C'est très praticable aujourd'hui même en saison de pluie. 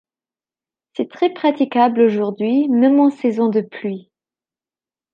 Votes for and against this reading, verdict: 3, 1, accepted